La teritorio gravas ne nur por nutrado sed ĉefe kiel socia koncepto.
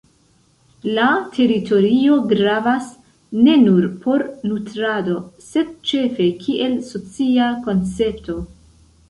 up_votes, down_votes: 2, 0